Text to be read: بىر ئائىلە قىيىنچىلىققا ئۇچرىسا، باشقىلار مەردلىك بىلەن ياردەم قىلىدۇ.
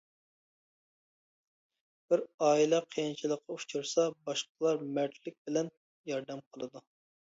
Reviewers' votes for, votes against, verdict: 2, 0, accepted